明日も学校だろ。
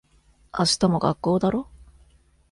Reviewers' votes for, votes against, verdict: 2, 0, accepted